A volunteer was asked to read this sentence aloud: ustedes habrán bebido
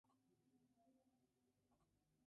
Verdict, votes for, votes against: rejected, 0, 2